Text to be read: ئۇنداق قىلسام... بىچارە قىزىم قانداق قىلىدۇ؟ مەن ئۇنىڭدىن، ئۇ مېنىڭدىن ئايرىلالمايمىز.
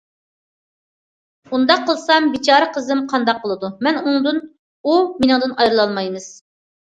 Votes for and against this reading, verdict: 2, 0, accepted